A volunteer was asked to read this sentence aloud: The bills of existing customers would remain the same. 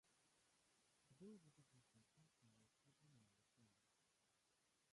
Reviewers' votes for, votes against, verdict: 0, 2, rejected